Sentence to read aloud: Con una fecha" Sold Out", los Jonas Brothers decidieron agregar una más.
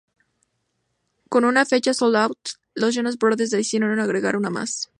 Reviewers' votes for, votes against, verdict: 2, 0, accepted